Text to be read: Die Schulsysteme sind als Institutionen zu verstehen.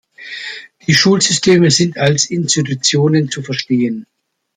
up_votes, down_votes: 2, 0